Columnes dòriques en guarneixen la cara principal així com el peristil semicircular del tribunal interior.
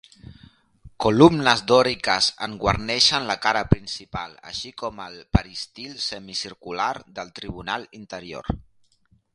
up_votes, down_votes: 2, 0